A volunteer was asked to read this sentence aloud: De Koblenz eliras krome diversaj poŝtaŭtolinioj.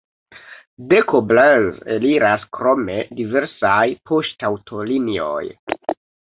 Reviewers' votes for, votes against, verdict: 0, 2, rejected